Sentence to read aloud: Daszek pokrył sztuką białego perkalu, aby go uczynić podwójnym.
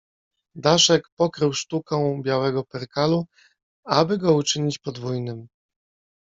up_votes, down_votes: 0, 2